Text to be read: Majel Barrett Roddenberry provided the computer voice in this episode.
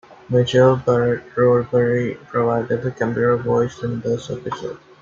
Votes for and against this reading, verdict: 1, 2, rejected